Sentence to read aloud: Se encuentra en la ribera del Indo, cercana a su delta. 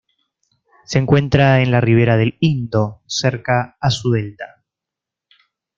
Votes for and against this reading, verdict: 0, 2, rejected